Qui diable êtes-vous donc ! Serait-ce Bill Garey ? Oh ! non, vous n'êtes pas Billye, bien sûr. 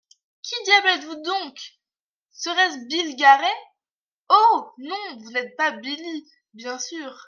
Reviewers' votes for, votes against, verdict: 2, 0, accepted